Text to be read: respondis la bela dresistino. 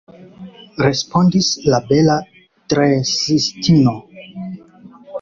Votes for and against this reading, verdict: 1, 2, rejected